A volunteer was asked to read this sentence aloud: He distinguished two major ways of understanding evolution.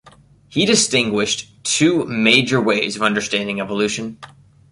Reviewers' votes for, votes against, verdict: 2, 0, accepted